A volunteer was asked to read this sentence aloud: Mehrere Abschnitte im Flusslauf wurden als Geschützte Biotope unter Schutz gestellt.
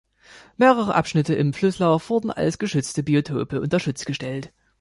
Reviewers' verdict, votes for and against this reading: accepted, 2, 0